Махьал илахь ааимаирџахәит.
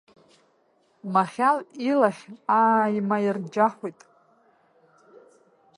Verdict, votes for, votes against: rejected, 1, 2